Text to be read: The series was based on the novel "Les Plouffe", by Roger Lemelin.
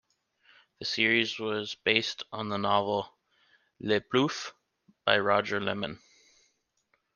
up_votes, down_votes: 1, 2